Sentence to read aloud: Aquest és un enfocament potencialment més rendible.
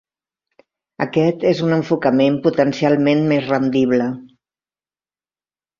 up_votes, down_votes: 3, 0